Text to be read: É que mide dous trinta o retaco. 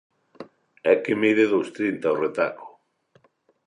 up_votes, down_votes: 2, 0